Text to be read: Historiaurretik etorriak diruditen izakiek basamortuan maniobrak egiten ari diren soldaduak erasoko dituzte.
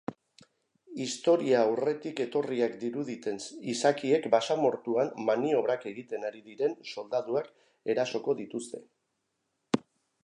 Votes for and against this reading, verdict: 2, 1, accepted